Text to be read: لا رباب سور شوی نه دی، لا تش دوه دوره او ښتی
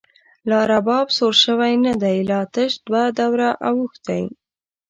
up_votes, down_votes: 2, 0